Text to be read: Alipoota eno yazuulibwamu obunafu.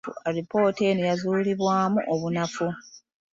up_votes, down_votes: 3, 1